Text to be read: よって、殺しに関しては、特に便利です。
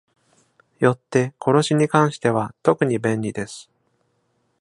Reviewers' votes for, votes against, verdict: 2, 0, accepted